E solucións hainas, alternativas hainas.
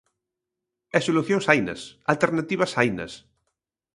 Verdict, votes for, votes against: accepted, 2, 0